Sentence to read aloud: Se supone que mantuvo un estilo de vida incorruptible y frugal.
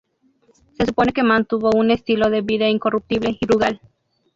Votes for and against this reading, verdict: 0, 2, rejected